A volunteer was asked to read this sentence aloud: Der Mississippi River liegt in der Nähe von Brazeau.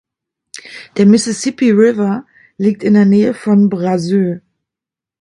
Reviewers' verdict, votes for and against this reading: rejected, 1, 2